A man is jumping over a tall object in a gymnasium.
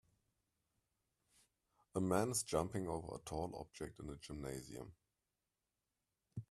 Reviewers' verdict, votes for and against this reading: accepted, 2, 0